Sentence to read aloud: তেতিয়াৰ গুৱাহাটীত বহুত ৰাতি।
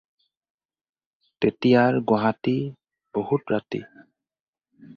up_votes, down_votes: 4, 2